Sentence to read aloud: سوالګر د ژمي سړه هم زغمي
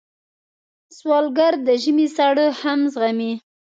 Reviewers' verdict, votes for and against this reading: accepted, 2, 0